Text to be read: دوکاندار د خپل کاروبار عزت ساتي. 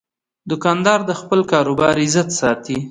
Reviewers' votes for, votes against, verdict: 2, 0, accepted